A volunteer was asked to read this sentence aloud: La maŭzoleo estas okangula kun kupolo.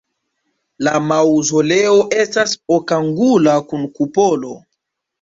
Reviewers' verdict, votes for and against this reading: accepted, 2, 0